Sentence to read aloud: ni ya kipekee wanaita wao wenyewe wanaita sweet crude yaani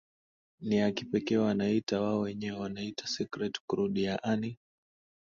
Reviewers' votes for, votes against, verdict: 2, 0, accepted